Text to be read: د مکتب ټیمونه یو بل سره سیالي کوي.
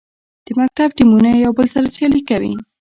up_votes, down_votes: 0, 2